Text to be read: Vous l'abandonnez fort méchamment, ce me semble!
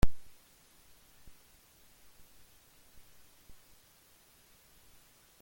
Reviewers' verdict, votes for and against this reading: rejected, 0, 2